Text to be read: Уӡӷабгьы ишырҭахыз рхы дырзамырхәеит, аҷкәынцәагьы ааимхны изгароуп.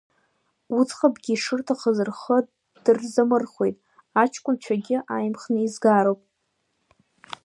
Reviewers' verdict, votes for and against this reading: accepted, 2, 1